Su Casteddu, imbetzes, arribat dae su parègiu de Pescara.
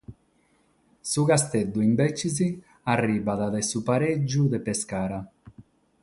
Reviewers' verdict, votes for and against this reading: rejected, 3, 6